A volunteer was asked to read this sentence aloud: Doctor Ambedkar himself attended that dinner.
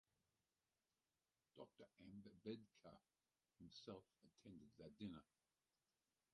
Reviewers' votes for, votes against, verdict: 0, 4, rejected